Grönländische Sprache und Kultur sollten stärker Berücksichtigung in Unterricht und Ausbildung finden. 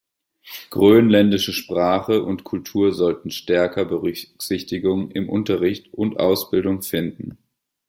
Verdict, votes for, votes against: rejected, 1, 2